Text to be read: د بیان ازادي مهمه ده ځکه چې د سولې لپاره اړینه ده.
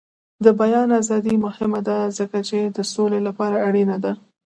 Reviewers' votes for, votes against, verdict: 2, 1, accepted